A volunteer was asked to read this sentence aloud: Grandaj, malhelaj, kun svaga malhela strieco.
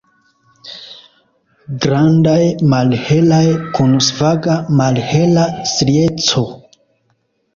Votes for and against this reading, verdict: 2, 0, accepted